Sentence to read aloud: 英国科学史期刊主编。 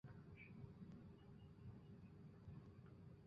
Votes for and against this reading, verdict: 0, 2, rejected